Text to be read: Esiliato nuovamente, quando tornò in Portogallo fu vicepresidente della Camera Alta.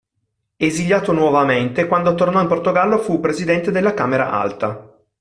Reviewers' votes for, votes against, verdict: 1, 3, rejected